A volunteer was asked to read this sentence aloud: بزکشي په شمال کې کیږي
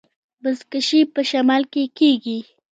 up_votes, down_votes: 2, 0